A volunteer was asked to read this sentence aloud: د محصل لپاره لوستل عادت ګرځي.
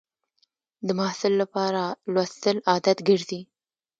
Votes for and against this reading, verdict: 1, 2, rejected